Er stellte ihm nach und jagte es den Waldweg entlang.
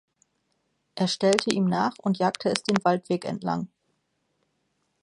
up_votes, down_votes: 2, 0